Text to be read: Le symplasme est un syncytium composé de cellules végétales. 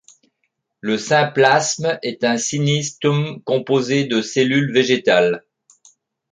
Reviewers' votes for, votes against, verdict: 1, 2, rejected